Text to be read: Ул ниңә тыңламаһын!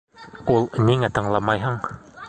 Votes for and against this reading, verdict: 0, 2, rejected